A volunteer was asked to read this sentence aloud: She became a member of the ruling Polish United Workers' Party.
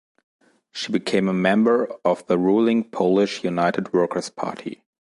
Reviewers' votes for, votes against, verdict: 3, 0, accepted